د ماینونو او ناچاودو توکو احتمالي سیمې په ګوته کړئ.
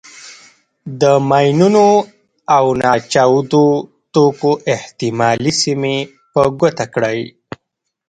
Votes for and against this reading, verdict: 0, 2, rejected